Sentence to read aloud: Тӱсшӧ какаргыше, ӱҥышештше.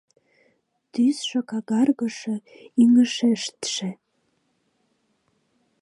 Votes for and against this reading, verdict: 1, 3, rejected